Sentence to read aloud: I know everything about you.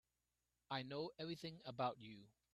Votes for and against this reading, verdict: 2, 1, accepted